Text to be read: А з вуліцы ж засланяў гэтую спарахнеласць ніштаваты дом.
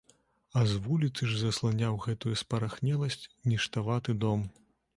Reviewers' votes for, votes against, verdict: 2, 0, accepted